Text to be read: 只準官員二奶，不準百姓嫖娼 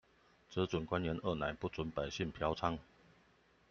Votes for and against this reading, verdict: 2, 0, accepted